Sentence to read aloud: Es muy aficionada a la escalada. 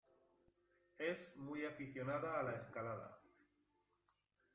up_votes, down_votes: 1, 2